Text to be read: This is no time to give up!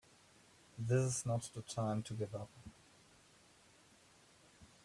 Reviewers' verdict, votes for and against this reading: rejected, 0, 3